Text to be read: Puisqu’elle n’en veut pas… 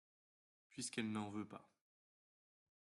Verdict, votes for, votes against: accepted, 2, 0